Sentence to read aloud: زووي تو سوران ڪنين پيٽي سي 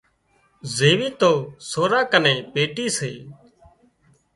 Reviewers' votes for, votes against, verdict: 0, 2, rejected